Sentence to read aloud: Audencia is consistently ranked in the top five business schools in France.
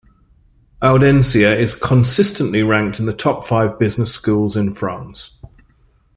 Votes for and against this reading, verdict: 2, 0, accepted